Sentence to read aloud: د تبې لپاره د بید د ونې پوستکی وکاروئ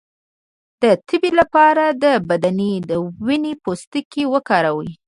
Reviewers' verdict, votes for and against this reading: rejected, 1, 2